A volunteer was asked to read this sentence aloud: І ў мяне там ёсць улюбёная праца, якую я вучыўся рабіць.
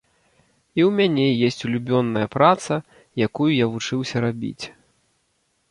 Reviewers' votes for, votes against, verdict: 0, 2, rejected